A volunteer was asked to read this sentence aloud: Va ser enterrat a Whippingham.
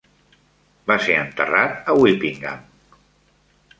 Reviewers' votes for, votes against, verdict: 2, 0, accepted